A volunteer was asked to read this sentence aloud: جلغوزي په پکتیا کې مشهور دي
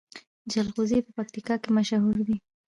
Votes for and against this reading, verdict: 0, 2, rejected